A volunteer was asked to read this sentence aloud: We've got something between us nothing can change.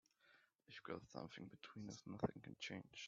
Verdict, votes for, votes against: rejected, 1, 2